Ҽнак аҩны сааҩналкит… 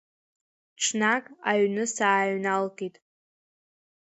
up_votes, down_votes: 2, 1